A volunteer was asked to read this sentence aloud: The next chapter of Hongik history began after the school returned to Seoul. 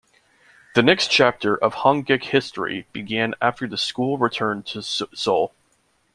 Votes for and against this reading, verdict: 1, 2, rejected